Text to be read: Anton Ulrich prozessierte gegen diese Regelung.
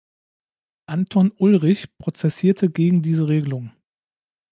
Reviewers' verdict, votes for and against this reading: accepted, 2, 0